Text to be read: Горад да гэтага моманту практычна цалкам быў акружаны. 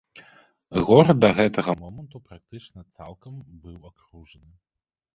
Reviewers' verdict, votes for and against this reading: rejected, 0, 3